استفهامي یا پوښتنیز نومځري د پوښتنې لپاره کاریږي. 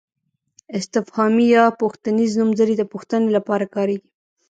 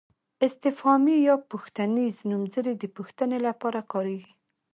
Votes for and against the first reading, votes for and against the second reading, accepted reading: 1, 2, 2, 0, second